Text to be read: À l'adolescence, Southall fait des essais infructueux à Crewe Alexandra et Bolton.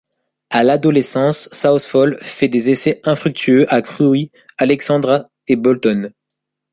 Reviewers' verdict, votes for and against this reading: rejected, 0, 2